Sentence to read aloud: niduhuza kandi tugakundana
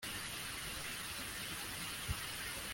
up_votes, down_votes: 0, 2